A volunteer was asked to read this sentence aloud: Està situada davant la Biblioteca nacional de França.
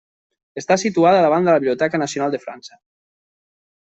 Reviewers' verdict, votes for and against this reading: rejected, 0, 2